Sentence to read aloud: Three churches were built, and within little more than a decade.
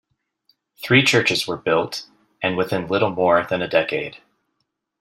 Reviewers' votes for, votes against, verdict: 2, 0, accepted